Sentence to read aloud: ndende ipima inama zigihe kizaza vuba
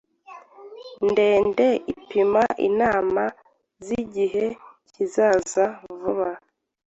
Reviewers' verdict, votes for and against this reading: accepted, 2, 0